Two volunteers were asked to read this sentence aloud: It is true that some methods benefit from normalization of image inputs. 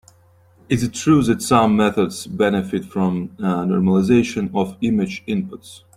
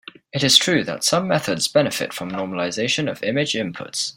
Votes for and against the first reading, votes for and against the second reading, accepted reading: 0, 2, 3, 0, second